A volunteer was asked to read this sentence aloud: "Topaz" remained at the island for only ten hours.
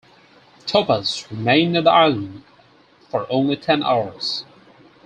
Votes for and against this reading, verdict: 4, 0, accepted